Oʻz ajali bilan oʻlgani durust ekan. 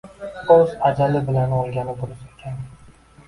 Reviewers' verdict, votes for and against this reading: rejected, 0, 2